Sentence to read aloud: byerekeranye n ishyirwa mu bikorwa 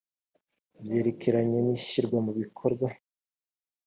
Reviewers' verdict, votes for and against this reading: accepted, 2, 0